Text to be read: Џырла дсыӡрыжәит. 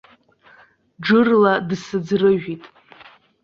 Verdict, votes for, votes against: accepted, 2, 0